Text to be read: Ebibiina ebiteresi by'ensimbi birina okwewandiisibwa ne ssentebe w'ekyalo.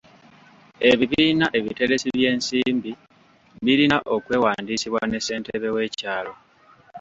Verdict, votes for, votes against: accepted, 2, 0